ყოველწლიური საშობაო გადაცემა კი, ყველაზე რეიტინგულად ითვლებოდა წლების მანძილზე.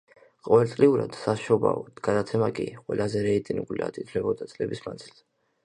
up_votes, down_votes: 1, 2